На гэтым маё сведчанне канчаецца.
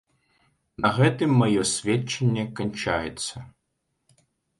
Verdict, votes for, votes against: accepted, 2, 0